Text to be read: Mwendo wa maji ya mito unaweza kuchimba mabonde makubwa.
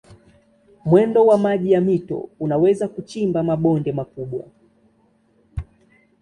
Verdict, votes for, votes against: accepted, 2, 1